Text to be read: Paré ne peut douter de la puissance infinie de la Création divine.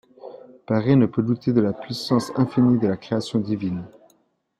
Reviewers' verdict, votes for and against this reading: accepted, 2, 0